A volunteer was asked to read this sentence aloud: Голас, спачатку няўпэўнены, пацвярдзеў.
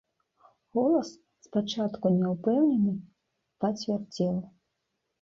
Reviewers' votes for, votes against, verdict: 2, 0, accepted